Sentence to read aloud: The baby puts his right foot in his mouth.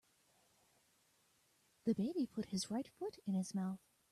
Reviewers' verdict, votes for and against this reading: rejected, 0, 2